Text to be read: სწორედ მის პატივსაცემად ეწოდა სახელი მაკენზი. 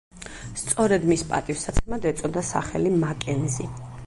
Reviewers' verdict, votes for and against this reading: accepted, 4, 0